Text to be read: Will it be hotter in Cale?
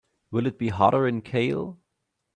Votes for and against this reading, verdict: 2, 0, accepted